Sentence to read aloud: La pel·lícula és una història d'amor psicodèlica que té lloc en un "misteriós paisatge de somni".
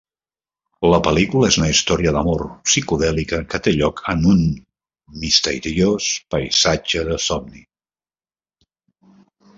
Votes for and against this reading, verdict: 1, 2, rejected